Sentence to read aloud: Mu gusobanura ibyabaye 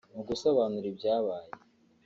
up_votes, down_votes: 2, 0